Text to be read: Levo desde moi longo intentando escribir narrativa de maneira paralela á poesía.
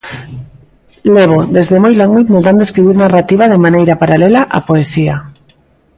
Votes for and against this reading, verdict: 2, 0, accepted